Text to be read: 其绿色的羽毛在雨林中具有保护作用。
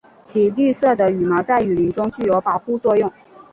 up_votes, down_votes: 6, 0